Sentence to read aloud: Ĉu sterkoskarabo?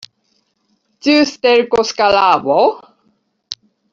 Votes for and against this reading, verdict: 1, 2, rejected